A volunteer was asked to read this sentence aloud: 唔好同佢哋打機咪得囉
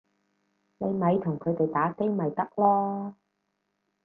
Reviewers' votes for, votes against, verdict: 0, 4, rejected